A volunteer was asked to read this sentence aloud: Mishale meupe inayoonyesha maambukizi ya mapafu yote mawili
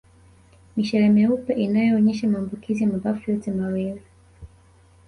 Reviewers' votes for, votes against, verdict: 2, 1, accepted